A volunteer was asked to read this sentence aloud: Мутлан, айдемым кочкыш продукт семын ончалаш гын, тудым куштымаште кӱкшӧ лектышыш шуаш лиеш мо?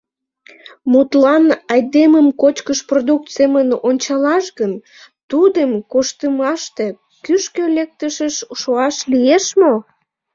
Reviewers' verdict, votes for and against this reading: rejected, 1, 2